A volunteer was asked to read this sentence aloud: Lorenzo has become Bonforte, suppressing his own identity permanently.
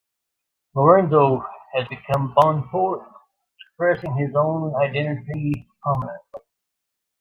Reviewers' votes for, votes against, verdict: 0, 2, rejected